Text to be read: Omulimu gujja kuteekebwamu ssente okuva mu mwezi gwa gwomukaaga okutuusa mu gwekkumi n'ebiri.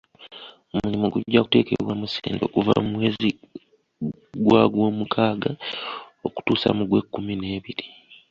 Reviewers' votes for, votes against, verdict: 1, 2, rejected